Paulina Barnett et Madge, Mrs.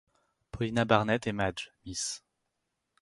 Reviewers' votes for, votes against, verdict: 2, 4, rejected